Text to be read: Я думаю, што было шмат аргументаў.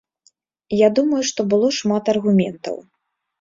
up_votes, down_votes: 2, 0